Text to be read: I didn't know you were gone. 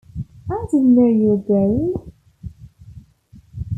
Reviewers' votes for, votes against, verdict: 2, 0, accepted